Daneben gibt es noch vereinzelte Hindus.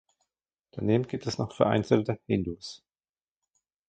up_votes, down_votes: 2, 1